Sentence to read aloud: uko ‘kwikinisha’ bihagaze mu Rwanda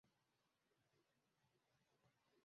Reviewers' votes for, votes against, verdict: 0, 2, rejected